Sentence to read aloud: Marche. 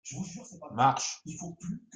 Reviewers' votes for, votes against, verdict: 1, 2, rejected